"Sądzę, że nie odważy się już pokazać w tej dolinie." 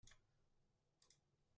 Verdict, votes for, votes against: rejected, 0, 2